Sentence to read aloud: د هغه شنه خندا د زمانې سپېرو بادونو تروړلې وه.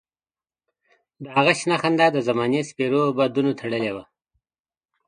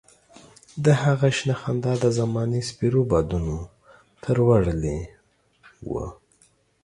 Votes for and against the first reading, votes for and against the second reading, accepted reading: 2, 1, 2, 3, first